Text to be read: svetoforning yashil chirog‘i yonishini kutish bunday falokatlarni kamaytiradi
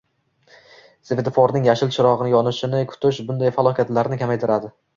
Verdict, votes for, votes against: accepted, 2, 0